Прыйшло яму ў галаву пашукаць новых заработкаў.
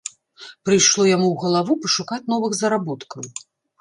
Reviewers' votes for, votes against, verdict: 1, 2, rejected